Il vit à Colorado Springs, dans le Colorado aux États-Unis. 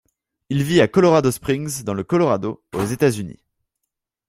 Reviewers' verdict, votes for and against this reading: accepted, 2, 0